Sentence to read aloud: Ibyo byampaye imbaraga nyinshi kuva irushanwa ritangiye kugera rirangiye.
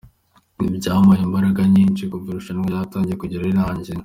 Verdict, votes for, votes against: accepted, 2, 0